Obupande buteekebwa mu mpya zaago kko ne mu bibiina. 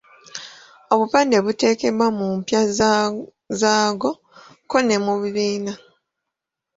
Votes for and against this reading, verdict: 2, 0, accepted